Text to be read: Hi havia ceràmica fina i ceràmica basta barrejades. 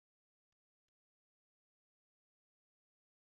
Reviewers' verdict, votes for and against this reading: rejected, 0, 2